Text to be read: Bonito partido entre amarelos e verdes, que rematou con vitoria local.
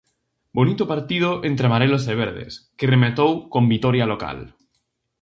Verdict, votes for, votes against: rejected, 2, 4